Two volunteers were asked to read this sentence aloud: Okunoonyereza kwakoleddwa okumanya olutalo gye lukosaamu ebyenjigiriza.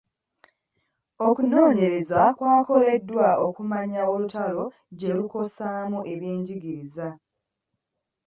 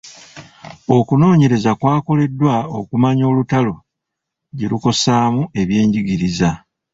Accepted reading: first